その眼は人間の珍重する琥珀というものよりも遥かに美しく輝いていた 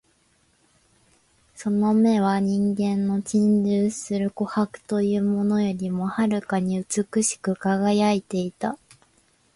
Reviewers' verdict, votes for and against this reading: accepted, 2, 0